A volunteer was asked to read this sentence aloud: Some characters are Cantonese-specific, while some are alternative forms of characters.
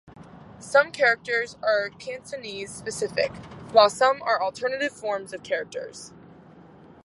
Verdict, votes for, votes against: rejected, 2, 2